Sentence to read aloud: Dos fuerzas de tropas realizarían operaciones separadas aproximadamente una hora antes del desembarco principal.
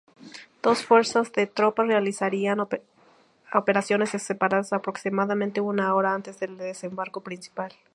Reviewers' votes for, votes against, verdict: 2, 4, rejected